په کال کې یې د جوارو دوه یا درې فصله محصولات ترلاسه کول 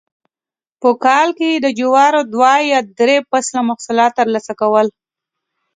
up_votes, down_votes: 2, 0